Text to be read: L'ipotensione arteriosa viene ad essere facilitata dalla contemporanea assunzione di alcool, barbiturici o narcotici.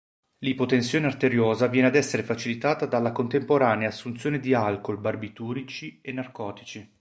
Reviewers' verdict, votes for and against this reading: rejected, 0, 2